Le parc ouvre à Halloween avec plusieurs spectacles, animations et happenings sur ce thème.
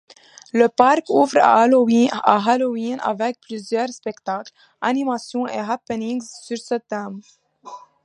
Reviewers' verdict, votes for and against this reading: rejected, 0, 2